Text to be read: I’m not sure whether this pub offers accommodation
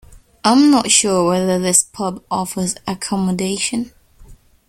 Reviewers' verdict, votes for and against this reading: accepted, 2, 0